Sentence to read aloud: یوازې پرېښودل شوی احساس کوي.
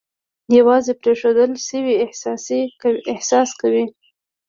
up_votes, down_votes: 1, 2